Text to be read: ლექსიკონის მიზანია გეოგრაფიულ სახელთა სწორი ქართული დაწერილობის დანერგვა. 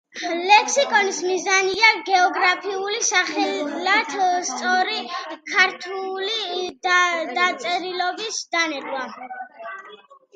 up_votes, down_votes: 0, 2